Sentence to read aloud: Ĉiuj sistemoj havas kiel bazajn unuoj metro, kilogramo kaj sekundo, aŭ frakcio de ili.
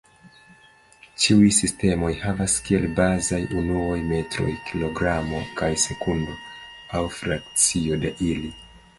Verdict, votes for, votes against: accepted, 2, 1